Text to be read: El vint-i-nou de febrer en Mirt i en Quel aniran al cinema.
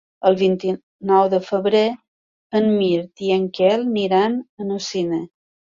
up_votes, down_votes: 0, 3